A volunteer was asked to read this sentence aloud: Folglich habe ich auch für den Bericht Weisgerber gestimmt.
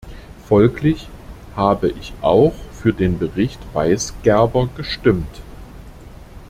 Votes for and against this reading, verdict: 2, 0, accepted